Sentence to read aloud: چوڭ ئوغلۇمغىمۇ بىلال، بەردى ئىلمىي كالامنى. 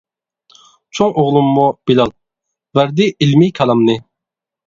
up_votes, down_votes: 1, 2